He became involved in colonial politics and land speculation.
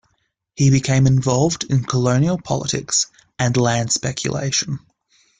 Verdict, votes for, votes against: accepted, 2, 0